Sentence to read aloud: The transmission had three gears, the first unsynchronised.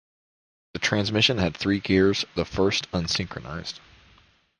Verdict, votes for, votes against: accepted, 2, 0